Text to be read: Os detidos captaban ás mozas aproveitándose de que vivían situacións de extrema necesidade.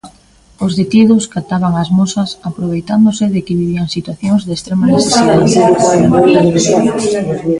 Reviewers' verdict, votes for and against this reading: rejected, 0, 2